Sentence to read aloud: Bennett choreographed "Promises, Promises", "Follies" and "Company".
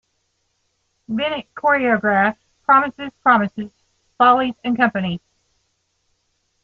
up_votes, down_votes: 2, 0